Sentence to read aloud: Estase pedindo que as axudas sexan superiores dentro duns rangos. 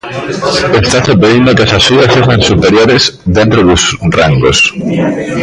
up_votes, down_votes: 1, 2